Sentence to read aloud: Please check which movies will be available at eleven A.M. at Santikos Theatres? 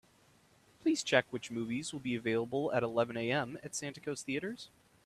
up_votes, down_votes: 2, 0